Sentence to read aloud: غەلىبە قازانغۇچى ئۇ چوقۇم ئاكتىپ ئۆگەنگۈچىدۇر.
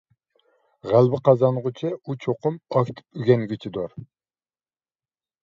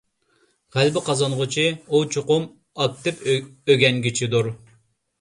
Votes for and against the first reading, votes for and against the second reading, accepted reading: 2, 0, 0, 2, first